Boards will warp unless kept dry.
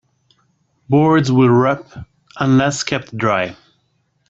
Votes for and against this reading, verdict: 0, 2, rejected